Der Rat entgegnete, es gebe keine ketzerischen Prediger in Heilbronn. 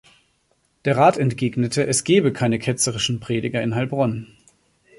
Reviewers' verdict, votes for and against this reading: accepted, 2, 0